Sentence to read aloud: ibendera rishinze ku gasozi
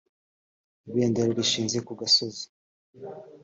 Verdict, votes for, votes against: accepted, 2, 0